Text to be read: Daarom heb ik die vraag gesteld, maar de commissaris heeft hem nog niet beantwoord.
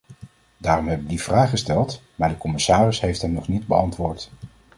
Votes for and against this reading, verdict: 2, 0, accepted